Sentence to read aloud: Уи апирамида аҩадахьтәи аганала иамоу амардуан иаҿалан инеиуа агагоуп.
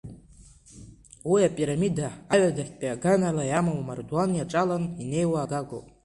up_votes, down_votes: 2, 0